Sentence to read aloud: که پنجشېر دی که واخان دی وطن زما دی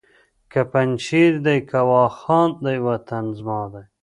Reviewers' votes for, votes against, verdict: 1, 2, rejected